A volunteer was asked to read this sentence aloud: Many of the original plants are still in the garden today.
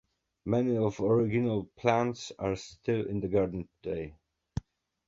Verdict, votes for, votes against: accepted, 2, 0